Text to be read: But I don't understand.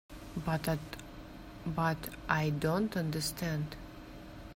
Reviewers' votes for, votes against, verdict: 1, 2, rejected